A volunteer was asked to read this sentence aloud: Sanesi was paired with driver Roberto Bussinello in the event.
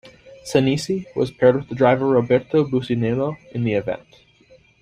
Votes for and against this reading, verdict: 2, 0, accepted